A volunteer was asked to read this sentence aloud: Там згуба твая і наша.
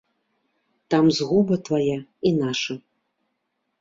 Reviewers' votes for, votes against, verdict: 2, 0, accepted